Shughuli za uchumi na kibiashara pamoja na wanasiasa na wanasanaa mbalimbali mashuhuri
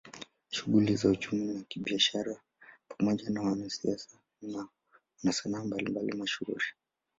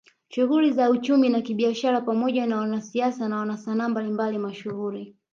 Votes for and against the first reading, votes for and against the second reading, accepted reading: 2, 0, 1, 2, first